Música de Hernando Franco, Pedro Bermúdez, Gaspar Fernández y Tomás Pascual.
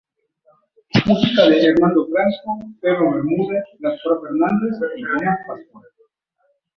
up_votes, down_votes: 0, 2